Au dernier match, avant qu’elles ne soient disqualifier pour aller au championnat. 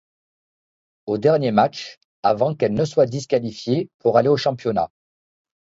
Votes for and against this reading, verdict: 2, 0, accepted